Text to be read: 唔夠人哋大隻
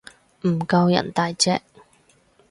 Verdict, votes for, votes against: rejected, 0, 4